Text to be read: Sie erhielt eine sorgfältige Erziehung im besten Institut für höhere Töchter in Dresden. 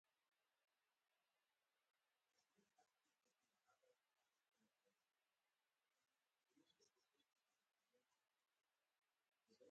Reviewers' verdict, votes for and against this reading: rejected, 0, 4